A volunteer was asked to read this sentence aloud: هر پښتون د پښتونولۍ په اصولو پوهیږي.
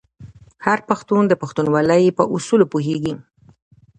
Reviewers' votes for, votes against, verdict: 2, 0, accepted